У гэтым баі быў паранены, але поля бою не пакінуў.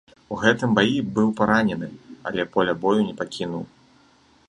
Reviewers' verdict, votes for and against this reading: accepted, 2, 0